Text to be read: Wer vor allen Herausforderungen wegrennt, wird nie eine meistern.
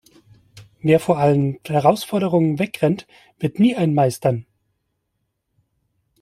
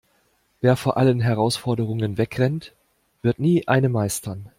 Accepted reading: second